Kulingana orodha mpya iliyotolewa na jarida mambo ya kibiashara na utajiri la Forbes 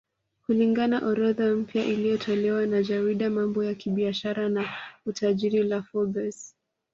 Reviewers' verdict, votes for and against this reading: accepted, 2, 1